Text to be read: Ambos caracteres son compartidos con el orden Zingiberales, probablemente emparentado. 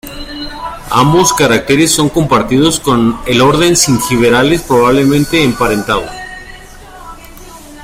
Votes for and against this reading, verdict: 2, 0, accepted